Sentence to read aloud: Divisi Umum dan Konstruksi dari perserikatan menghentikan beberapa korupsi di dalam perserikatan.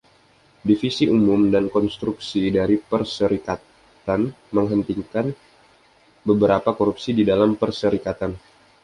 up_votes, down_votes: 2, 1